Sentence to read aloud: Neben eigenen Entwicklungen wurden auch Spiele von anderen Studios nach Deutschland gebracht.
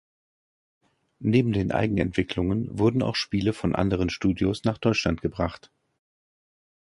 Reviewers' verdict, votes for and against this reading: rejected, 1, 2